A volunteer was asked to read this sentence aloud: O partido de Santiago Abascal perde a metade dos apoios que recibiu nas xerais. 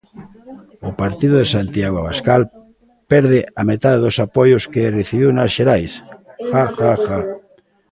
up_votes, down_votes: 0, 2